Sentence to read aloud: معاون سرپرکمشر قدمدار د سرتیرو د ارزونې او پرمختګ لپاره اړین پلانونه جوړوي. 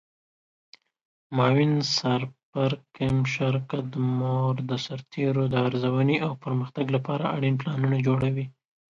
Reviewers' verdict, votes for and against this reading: rejected, 1, 2